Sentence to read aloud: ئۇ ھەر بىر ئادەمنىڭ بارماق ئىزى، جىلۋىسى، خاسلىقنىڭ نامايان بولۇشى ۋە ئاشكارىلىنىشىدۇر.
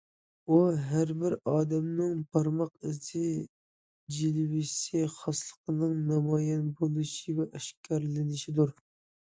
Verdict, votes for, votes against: accepted, 2, 0